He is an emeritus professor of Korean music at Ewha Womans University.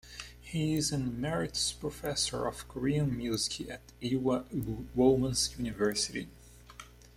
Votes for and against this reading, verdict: 2, 1, accepted